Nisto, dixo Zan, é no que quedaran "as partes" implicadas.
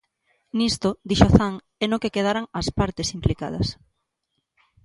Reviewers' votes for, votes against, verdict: 2, 0, accepted